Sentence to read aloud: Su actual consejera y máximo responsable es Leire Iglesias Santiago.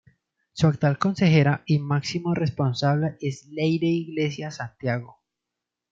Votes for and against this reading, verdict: 2, 0, accepted